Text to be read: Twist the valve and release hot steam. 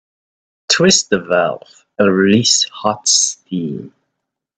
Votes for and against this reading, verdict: 2, 0, accepted